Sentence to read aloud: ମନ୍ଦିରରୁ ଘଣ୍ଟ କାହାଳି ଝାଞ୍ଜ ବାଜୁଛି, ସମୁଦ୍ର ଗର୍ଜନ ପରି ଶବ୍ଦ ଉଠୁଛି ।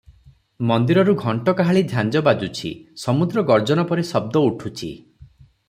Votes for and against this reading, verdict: 3, 0, accepted